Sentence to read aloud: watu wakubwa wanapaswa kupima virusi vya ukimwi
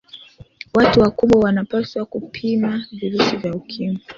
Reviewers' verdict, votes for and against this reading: accepted, 2, 1